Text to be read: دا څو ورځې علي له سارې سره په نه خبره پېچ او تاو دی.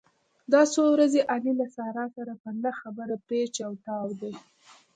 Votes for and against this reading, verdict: 2, 1, accepted